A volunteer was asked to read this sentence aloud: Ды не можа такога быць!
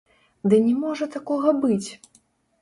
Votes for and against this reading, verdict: 0, 2, rejected